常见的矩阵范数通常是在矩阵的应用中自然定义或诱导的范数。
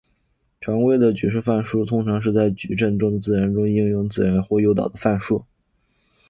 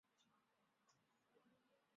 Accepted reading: first